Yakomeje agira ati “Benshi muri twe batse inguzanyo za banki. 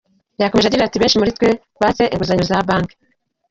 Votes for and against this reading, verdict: 0, 3, rejected